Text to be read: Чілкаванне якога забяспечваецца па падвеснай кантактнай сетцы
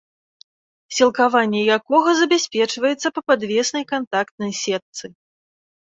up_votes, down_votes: 0, 2